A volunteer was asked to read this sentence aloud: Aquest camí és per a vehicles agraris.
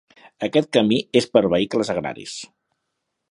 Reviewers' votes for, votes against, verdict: 2, 0, accepted